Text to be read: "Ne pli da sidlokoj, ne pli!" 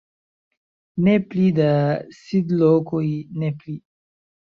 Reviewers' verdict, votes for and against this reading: accepted, 2, 0